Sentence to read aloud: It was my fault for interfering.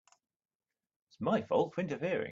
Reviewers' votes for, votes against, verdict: 1, 2, rejected